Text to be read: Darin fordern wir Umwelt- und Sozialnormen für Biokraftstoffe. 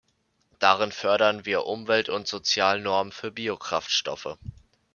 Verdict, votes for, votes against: rejected, 0, 2